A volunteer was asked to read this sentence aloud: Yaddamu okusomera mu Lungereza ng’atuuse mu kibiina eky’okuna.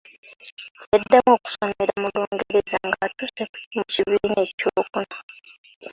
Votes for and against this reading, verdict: 0, 2, rejected